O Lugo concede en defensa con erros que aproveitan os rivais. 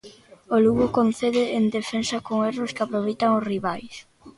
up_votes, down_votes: 2, 0